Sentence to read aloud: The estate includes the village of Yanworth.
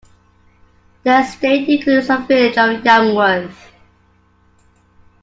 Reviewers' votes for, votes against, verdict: 2, 1, accepted